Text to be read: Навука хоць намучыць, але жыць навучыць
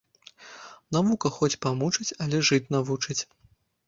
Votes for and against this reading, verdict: 0, 2, rejected